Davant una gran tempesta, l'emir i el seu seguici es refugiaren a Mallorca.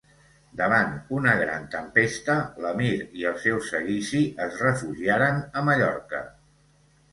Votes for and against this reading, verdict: 2, 0, accepted